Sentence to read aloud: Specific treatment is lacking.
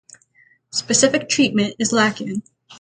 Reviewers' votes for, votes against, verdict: 6, 0, accepted